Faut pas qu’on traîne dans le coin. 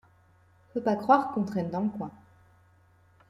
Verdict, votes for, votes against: rejected, 0, 3